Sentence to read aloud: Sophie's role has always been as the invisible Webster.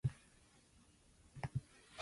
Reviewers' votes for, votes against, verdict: 0, 2, rejected